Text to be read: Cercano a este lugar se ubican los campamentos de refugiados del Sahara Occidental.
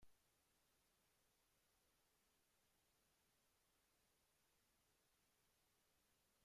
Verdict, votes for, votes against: rejected, 0, 2